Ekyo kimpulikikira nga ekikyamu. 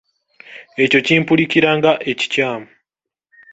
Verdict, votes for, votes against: accepted, 2, 0